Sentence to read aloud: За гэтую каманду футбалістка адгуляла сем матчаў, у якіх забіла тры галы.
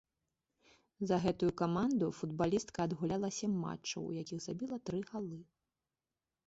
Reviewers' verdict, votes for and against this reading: rejected, 0, 2